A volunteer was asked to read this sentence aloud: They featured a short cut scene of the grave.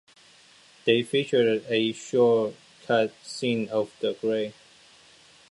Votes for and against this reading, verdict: 2, 0, accepted